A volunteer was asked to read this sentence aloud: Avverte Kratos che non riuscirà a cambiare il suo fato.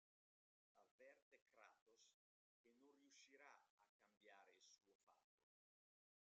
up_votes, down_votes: 0, 2